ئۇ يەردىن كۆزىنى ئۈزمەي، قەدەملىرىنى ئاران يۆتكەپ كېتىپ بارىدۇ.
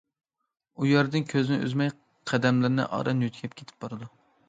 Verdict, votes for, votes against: accepted, 2, 0